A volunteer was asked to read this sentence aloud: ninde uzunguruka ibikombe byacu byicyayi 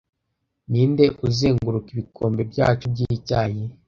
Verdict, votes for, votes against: rejected, 0, 2